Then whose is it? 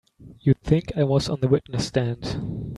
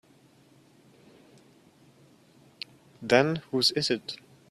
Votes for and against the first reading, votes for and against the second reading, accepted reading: 0, 2, 2, 0, second